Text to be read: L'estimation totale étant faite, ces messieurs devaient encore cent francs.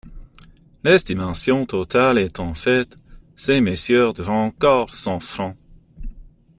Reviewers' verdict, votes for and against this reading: accepted, 2, 1